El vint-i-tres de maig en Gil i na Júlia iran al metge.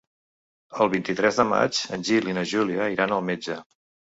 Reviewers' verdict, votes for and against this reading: accepted, 3, 0